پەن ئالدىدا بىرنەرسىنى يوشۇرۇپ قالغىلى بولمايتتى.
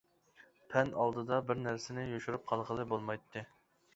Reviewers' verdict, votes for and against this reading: accepted, 2, 0